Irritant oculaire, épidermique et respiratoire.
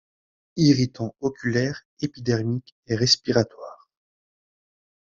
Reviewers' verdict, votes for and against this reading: accepted, 2, 0